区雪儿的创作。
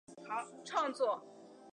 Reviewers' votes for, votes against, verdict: 2, 3, rejected